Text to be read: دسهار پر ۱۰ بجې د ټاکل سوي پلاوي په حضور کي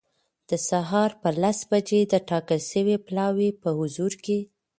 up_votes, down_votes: 0, 2